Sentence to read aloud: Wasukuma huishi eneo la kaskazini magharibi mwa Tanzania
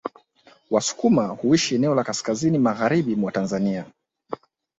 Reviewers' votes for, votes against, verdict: 2, 0, accepted